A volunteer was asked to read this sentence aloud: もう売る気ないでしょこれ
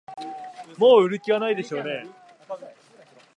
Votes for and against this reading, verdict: 0, 2, rejected